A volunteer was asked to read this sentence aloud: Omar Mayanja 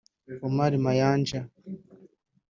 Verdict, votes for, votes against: rejected, 1, 2